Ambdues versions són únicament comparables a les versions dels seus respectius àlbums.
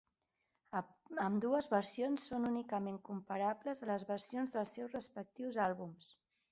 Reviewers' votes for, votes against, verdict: 1, 2, rejected